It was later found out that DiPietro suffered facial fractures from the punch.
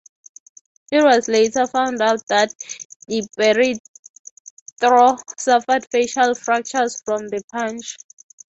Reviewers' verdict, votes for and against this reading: rejected, 0, 3